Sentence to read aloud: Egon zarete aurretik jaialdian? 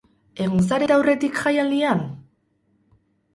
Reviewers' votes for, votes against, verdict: 4, 4, rejected